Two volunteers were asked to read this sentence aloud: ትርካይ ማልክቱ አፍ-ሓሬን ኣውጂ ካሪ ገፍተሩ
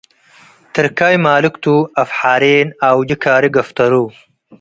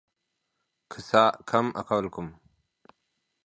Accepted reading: first